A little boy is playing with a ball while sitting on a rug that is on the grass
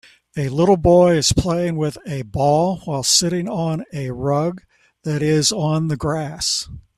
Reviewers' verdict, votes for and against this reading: accepted, 2, 0